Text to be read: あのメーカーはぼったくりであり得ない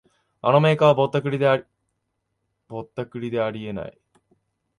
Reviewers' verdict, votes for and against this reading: rejected, 3, 4